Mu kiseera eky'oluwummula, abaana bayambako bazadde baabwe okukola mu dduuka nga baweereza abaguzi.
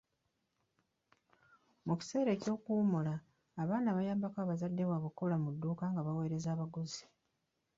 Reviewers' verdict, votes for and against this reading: rejected, 2, 3